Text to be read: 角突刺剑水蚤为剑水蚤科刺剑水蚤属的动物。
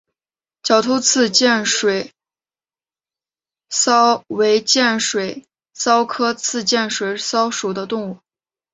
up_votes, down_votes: 0, 2